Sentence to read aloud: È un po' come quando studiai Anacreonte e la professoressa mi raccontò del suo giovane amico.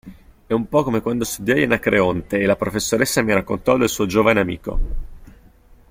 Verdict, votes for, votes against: accepted, 2, 0